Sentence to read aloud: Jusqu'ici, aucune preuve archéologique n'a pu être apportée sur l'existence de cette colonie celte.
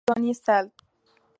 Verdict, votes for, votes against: rejected, 0, 2